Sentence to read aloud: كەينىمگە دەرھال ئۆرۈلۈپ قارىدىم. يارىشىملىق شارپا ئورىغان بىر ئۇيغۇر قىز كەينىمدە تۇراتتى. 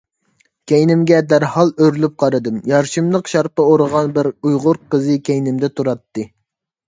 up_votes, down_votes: 0, 2